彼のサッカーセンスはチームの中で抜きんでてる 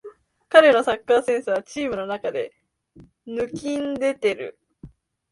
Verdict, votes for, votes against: accepted, 2, 0